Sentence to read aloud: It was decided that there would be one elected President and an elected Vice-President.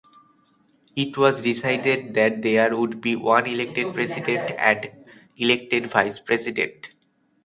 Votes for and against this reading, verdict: 1, 2, rejected